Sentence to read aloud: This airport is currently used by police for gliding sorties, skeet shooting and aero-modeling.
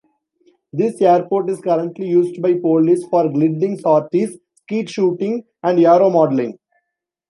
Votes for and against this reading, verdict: 0, 2, rejected